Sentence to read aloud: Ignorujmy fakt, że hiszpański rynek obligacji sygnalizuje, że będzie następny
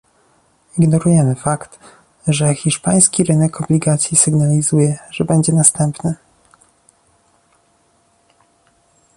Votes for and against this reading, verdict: 1, 2, rejected